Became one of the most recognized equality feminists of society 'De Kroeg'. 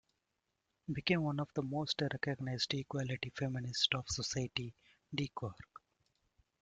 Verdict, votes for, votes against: rejected, 1, 2